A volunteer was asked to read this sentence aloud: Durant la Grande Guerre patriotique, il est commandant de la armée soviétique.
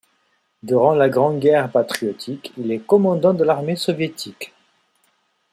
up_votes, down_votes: 2, 0